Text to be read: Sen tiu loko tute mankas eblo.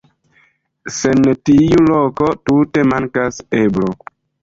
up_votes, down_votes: 1, 2